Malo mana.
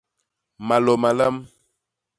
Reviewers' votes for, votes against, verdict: 1, 2, rejected